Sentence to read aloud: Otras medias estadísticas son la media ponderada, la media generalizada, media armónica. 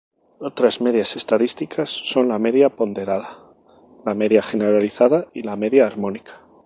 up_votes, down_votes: 0, 2